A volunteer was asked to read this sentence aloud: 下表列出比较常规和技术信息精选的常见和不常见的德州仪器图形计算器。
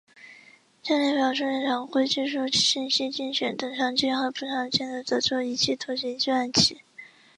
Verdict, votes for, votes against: rejected, 0, 2